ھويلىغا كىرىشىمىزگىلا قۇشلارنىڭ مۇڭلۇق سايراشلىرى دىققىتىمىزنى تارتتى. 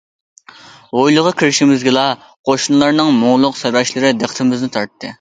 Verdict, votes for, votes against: rejected, 0, 2